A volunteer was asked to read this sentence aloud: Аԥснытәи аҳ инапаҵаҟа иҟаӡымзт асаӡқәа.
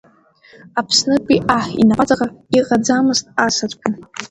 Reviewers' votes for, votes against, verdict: 0, 2, rejected